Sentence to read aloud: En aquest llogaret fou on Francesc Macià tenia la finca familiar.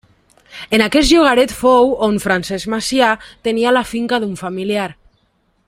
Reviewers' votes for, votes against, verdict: 0, 2, rejected